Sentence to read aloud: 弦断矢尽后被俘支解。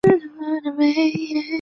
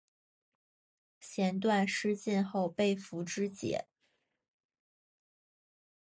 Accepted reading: second